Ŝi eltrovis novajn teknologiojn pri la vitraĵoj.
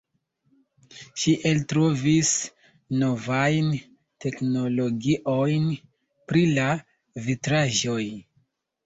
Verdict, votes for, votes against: accepted, 2, 0